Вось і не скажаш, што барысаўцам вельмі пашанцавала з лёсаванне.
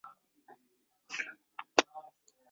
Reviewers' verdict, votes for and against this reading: rejected, 0, 2